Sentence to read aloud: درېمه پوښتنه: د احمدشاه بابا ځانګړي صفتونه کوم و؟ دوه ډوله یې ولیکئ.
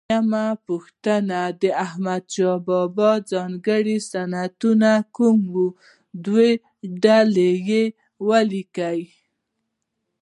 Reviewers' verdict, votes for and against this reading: accepted, 2, 1